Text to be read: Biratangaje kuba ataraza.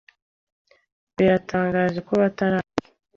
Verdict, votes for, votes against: accepted, 2, 0